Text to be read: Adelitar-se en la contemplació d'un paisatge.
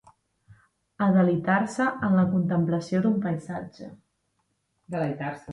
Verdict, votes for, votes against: rejected, 1, 2